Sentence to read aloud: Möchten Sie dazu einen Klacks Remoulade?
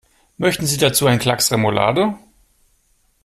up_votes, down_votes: 2, 0